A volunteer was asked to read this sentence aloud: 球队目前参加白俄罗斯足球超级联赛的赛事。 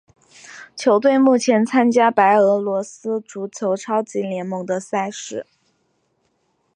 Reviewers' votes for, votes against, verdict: 1, 2, rejected